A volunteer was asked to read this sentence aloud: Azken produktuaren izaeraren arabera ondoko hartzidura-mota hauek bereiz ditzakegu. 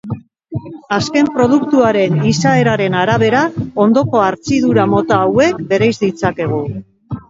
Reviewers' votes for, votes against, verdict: 2, 1, accepted